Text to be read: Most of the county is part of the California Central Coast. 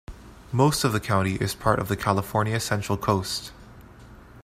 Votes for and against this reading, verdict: 2, 0, accepted